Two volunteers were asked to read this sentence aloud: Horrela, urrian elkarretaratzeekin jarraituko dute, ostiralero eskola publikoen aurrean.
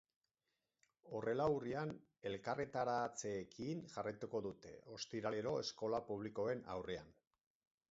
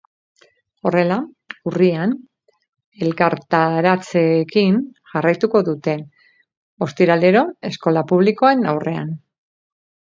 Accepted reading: first